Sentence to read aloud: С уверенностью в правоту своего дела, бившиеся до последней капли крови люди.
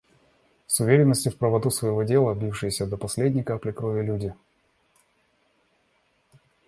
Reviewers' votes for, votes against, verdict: 2, 0, accepted